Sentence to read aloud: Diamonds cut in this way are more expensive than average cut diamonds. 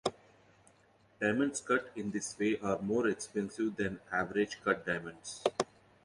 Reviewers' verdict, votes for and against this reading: accepted, 2, 0